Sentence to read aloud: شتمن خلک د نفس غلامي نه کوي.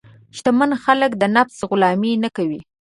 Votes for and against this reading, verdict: 3, 0, accepted